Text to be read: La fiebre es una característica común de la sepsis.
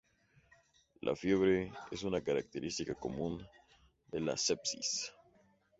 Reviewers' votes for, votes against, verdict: 2, 0, accepted